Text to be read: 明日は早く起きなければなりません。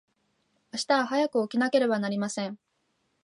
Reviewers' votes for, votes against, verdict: 2, 0, accepted